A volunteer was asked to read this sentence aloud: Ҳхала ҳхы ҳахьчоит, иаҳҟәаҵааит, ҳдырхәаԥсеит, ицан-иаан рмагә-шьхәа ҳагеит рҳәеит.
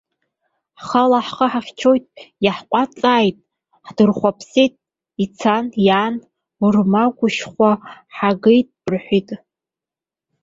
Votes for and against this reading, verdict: 1, 3, rejected